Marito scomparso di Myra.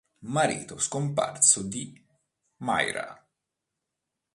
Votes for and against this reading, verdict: 2, 0, accepted